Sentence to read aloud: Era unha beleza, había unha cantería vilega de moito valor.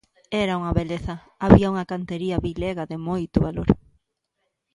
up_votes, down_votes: 2, 0